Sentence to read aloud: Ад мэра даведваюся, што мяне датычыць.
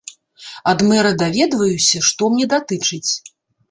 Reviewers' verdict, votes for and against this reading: rejected, 0, 2